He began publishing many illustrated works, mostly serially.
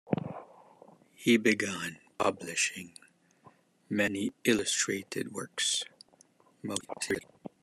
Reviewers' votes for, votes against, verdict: 0, 2, rejected